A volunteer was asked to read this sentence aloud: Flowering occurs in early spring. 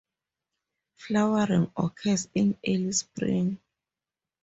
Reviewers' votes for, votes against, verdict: 0, 2, rejected